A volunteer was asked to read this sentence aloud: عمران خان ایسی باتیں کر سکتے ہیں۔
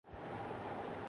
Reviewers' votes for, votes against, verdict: 0, 3, rejected